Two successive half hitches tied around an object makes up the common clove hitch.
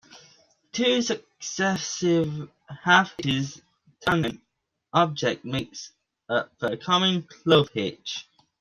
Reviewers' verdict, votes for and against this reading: rejected, 1, 2